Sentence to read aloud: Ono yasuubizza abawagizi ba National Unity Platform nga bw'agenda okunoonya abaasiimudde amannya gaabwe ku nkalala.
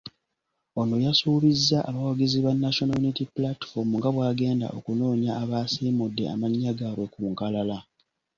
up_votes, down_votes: 2, 0